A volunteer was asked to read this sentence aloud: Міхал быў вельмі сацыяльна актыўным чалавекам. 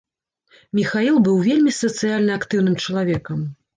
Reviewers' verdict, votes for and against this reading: rejected, 0, 2